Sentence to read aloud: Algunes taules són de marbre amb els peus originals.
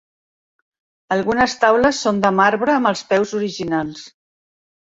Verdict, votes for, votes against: accepted, 2, 1